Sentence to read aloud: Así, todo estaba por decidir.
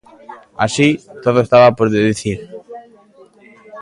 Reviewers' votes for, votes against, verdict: 0, 2, rejected